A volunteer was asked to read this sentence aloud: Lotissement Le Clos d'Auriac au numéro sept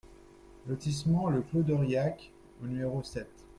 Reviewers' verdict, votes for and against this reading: accepted, 2, 1